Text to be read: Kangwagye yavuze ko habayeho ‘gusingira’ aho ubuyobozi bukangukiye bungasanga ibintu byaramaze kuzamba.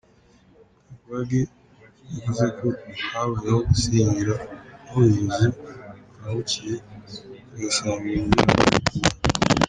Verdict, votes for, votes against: rejected, 1, 2